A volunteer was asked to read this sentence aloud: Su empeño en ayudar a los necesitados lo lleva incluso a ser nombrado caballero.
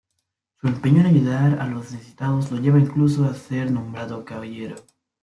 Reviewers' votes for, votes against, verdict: 1, 2, rejected